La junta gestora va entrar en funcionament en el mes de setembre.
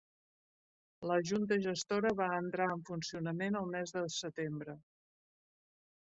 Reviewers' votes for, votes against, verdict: 0, 2, rejected